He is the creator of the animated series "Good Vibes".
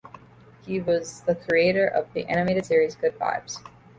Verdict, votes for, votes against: rejected, 0, 2